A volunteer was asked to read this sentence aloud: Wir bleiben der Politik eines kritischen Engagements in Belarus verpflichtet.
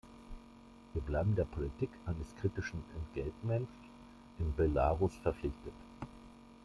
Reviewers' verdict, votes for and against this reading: rejected, 1, 2